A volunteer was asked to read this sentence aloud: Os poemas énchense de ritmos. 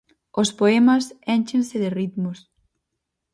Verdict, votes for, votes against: accepted, 4, 0